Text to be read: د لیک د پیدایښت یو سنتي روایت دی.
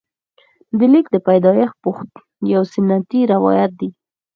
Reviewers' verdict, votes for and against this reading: accepted, 4, 0